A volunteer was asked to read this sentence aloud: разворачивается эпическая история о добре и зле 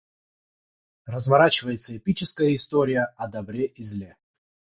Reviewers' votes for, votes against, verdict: 6, 0, accepted